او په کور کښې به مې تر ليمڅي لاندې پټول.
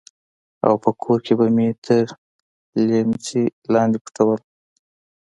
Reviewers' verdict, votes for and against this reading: accepted, 2, 0